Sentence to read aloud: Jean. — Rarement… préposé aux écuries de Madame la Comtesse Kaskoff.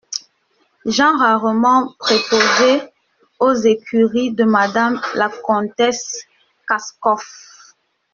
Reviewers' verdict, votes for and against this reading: rejected, 0, 2